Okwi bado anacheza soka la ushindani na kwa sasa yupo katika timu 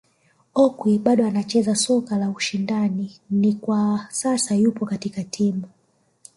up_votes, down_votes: 1, 3